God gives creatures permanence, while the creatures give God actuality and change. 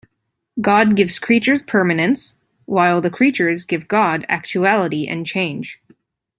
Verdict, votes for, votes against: accepted, 2, 0